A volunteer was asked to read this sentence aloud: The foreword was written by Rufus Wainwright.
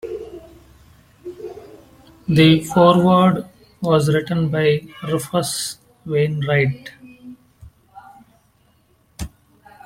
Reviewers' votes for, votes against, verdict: 3, 1, accepted